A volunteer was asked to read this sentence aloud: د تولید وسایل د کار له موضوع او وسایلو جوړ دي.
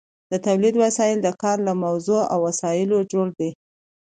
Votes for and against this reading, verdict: 2, 0, accepted